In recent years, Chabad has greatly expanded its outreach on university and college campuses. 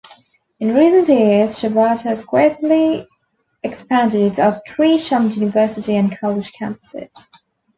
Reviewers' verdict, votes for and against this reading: rejected, 0, 2